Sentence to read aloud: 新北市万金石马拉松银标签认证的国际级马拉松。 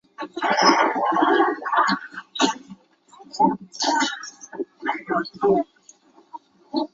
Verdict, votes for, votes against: rejected, 2, 7